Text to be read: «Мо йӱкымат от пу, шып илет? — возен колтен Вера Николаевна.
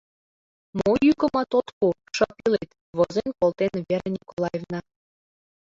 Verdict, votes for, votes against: accepted, 2, 0